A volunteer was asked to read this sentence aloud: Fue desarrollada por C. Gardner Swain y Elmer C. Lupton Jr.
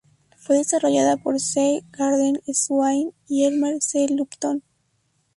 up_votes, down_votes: 0, 4